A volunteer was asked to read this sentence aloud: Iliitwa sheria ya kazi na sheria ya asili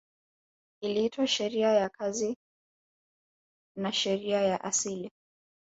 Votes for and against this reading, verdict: 2, 1, accepted